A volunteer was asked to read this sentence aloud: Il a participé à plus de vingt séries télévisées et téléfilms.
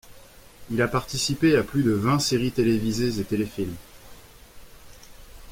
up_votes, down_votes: 2, 0